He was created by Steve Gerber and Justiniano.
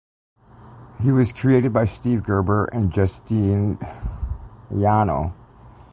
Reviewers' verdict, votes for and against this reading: rejected, 1, 2